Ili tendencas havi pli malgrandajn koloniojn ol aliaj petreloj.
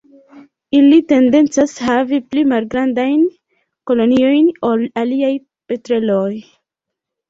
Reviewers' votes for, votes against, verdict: 1, 2, rejected